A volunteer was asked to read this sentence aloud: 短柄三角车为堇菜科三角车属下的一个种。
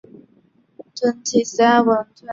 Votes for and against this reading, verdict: 1, 2, rejected